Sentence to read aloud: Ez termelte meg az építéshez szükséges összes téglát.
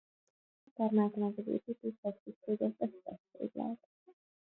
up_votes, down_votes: 0, 2